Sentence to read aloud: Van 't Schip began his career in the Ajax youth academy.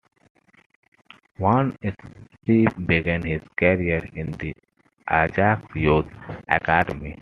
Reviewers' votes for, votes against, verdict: 0, 2, rejected